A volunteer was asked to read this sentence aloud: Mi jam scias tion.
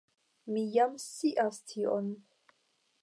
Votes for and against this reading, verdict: 0, 5, rejected